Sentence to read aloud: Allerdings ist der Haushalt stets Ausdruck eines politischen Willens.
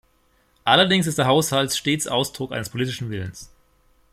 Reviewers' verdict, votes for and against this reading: rejected, 1, 2